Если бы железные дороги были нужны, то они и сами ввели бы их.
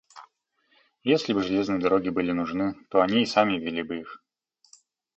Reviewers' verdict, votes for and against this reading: accepted, 2, 0